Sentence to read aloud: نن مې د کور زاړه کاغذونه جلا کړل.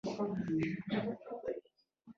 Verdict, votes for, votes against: accepted, 2, 0